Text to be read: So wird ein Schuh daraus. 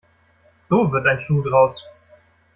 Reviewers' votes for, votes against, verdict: 1, 2, rejected